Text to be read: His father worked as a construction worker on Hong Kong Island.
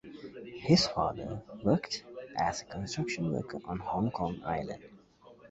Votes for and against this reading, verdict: 2, 0, accepted